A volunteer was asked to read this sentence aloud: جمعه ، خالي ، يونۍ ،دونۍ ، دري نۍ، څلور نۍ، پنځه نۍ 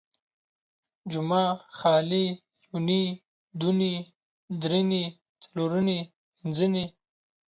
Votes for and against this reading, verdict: 0, 2, rejected